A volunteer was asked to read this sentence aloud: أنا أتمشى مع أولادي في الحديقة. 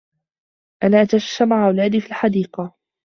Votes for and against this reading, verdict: 1, 2, rejected